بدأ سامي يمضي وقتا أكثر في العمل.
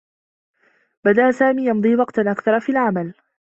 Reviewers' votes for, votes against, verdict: 2, 0, accepted